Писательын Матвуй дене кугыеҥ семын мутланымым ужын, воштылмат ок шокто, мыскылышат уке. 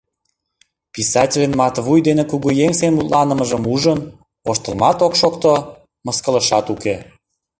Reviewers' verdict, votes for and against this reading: rejected, 1, 2